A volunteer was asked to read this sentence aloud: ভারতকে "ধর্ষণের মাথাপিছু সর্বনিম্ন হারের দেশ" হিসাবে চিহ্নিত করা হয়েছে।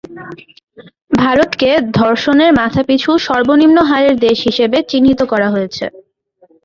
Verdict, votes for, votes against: accepted, 3, 1